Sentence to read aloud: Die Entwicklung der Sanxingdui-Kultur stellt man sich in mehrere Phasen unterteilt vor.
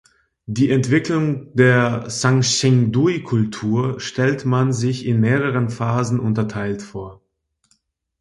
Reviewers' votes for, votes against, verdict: 2, 1, accepted